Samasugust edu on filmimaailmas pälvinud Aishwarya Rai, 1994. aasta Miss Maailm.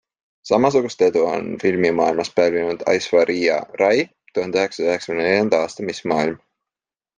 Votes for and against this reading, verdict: 0, 2, rejected